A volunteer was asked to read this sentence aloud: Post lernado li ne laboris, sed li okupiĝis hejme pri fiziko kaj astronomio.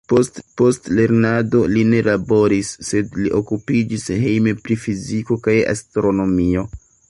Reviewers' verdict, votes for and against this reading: rejected, 0, 2